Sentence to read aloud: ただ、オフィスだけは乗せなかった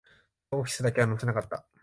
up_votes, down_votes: 0, 2